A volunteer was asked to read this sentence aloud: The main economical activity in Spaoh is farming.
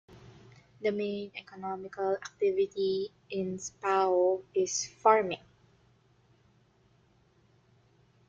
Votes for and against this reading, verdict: 2, 0, accepted